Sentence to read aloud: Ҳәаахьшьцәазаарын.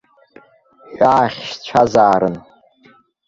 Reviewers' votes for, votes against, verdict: 0, 2, rejected